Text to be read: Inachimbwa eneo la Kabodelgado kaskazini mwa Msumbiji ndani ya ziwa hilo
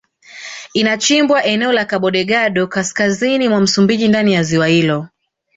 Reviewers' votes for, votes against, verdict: 2, 0, accepted